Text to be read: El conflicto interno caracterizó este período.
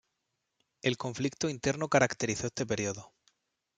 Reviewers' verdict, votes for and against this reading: accepted, 2, 0